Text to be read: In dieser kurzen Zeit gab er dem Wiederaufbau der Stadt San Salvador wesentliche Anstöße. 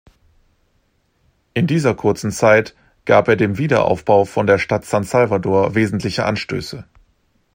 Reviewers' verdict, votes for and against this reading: rejected, 0, 2